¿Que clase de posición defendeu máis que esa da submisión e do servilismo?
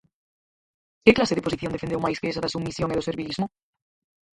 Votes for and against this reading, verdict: 0, 4, rejected